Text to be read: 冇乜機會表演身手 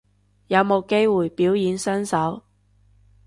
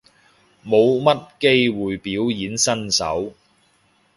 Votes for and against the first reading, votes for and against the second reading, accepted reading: 0, 2, 2, 0, second